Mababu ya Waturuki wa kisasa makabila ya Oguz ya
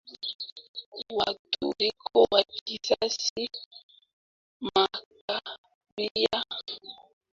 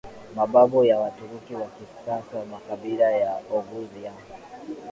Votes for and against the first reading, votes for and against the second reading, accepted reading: 0, 2, 2, 1, second